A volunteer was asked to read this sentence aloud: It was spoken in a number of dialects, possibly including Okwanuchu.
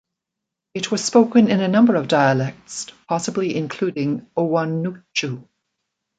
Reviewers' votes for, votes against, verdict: 1, 2, rejected